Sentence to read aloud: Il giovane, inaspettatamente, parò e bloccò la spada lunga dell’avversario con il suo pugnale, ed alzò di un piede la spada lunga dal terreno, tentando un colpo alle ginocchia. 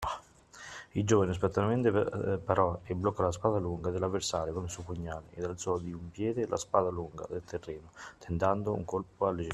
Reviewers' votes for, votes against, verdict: 1, 2, rejected